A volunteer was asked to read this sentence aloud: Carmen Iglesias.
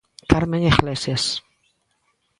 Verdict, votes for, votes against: accepted, 2, 0